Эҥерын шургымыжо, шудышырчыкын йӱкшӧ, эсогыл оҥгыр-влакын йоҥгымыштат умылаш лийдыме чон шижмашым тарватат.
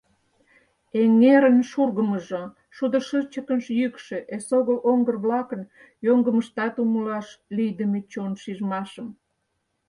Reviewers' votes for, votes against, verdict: 0, 4, rejected